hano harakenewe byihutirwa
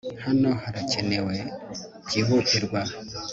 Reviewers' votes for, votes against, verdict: 2, 0, accepted